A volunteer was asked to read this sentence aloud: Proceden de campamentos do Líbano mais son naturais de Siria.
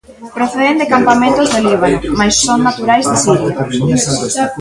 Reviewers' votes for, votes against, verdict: 0, 2, rejected